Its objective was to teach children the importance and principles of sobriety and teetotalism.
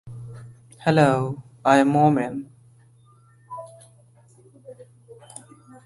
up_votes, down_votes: 0, 2